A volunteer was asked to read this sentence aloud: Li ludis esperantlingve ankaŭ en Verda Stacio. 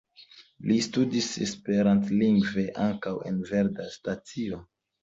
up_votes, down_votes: 2, 1